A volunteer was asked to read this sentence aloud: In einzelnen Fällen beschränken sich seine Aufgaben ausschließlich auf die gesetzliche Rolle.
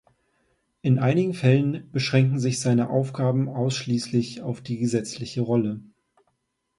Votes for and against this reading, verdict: 0, 2, rejected